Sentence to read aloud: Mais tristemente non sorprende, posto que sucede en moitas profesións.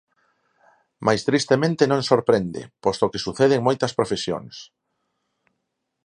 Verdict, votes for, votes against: accepted, 4, 0